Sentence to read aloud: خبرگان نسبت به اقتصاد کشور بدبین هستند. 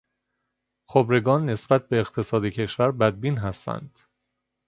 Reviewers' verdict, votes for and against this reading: accepted, 2, 0